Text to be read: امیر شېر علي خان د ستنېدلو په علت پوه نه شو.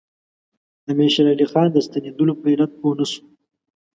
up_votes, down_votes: 2, 0